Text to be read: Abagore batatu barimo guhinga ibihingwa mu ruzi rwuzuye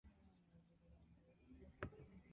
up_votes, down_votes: 0, 2